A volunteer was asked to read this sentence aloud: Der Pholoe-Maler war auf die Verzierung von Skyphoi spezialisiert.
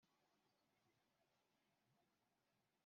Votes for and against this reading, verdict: 0, 2, rejected